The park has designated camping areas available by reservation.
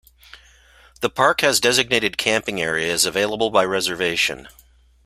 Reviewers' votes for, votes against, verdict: 2, 0, accepted